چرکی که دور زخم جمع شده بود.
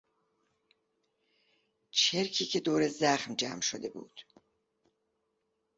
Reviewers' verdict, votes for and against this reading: accepted, 2, 0